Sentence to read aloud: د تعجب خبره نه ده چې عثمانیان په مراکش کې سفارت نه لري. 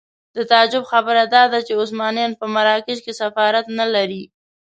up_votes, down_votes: 1, 2